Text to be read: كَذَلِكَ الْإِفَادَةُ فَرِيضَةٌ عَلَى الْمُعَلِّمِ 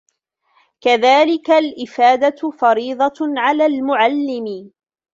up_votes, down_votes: 0, 2